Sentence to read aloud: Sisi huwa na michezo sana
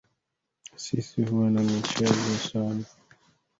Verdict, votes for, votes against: rejected, 1, 2